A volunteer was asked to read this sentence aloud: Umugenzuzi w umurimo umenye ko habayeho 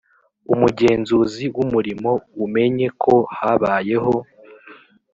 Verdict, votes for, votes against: accepted, 2, 0